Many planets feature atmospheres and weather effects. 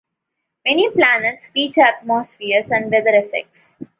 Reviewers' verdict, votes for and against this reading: accepted, 2, 0